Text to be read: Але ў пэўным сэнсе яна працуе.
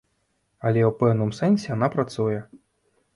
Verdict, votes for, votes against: rejected, 1, 2